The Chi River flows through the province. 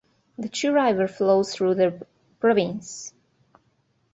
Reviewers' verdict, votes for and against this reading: accepted, 3, 0